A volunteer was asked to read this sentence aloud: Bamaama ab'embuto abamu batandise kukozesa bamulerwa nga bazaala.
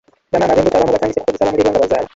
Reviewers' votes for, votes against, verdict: 0, 2, rejected